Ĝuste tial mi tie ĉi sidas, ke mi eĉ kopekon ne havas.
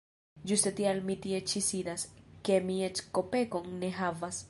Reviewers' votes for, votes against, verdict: 2, 0, accepted